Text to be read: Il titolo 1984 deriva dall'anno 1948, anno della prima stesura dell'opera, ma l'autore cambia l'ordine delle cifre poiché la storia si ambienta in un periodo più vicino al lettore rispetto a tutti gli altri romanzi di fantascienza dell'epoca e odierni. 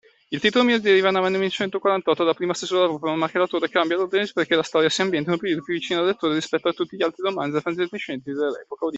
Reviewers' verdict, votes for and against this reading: rejected, 0, 2